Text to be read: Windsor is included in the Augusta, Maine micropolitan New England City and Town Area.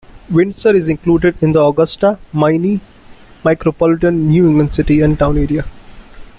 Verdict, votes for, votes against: rejected, 1, 2